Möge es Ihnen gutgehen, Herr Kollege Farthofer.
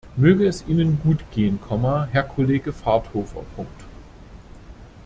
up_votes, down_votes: 0, 2